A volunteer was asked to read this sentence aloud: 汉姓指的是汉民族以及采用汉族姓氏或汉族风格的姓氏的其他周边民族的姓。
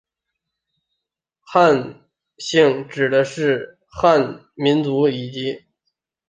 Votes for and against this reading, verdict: 0, 4, rejected